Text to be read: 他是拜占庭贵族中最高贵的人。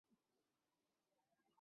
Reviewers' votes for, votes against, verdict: 1, 2, rejected